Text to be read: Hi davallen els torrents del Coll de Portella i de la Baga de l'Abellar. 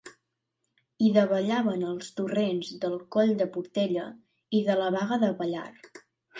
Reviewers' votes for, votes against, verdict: 1, 4, rejected